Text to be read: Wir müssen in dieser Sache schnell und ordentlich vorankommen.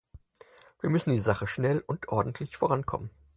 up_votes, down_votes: 0, 4